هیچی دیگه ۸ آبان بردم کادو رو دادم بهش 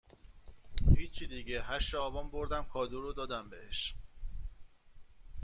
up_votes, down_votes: 0, 2